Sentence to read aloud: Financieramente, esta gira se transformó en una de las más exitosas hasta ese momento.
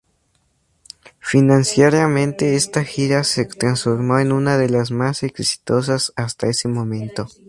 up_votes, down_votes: 2, 0